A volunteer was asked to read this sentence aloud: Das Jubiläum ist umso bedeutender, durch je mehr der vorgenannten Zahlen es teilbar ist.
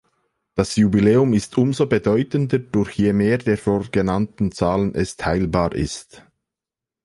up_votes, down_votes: 2, 0